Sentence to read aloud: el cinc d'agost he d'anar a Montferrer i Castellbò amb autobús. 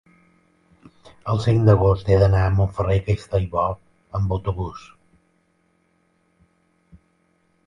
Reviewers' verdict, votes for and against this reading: rejected, 0, 2